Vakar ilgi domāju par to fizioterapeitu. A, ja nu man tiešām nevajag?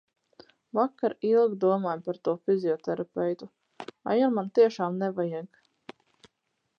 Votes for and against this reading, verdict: 2, 2, rejected